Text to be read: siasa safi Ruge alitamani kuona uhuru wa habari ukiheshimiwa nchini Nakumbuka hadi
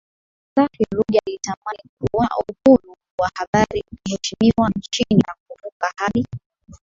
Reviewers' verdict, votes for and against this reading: rejected, 0, 2